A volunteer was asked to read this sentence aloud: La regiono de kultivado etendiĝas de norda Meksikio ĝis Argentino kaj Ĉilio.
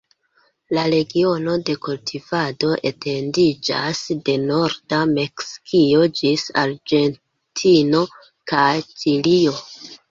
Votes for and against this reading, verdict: 0, 2, rejected